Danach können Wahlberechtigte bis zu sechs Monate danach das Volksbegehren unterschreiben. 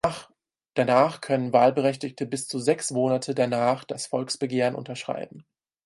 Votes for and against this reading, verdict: 2, 4, rejected